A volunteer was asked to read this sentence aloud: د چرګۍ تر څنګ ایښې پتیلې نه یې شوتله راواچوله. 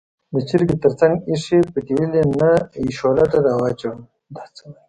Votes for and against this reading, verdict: 1, 2, rejected